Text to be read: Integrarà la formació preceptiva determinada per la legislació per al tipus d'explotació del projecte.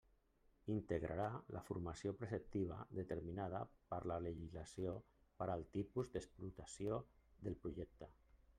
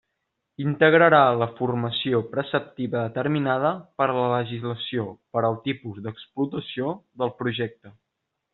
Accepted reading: second